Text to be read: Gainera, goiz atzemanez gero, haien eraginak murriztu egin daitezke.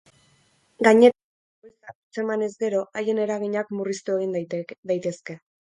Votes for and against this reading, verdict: 0, 4, rejected